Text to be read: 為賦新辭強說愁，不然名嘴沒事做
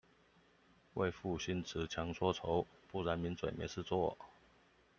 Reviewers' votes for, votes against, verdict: 2, 0, accepted